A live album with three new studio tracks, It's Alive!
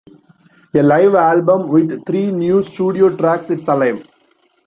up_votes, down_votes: 1, 2